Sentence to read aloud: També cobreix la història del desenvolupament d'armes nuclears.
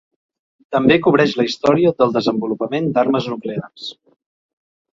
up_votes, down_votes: 2, 0